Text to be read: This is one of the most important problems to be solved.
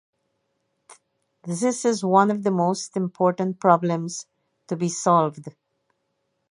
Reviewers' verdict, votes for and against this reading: accepted, 2, 0